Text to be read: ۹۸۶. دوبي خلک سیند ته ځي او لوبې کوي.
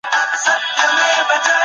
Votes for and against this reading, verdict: 0, 2, rejected